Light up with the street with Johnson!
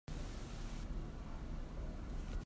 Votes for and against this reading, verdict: 0, 3, rejected